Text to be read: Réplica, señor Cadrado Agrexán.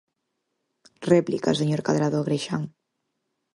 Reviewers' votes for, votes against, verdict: 4, 0, accepted